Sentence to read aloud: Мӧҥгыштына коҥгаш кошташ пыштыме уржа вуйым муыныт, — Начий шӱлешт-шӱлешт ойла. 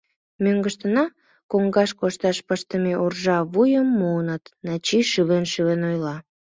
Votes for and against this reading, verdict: 1, 2, rejected